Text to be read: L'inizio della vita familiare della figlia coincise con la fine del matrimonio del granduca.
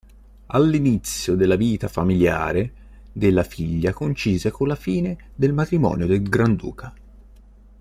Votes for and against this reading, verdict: 0, 2, rejected